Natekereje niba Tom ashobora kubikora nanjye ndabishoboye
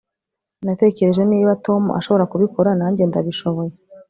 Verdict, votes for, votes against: rejected, 1, 2